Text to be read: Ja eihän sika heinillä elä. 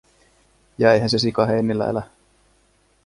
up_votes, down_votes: 1, 2